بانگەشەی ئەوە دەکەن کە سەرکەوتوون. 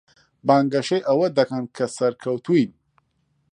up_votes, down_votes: 1, 2